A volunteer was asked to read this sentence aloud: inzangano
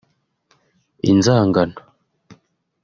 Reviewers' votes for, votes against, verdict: 2, 0, accepted